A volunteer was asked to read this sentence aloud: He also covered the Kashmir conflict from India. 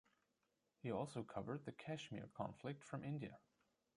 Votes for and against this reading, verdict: 1, 2, rejected